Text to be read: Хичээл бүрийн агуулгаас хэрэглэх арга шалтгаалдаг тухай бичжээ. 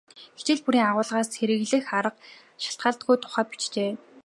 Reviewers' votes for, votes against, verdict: 2, 1, accepted